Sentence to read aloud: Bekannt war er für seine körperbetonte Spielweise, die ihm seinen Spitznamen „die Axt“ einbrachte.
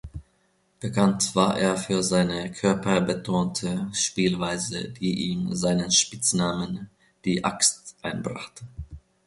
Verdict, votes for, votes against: accepted, 2, 0